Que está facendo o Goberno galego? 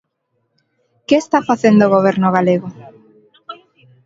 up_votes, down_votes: 1, 2